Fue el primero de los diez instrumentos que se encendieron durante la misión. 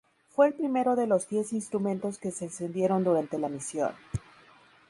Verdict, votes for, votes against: accepted, 4, 0